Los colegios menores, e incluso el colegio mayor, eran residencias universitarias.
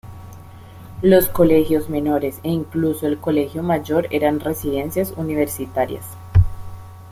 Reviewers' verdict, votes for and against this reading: accepted, 2, 0